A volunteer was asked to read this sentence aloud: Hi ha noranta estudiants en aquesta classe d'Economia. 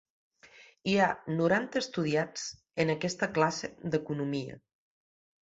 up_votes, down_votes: 2, 0